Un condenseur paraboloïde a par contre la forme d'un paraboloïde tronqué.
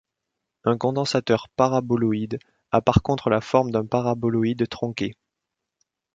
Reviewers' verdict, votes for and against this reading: rejected, 1, 2